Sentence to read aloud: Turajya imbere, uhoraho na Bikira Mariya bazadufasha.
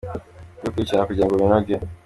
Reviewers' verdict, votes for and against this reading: rejected, 0, 2